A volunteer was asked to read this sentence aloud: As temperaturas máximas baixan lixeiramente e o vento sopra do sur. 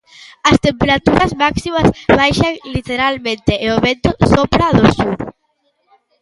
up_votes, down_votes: 0, 2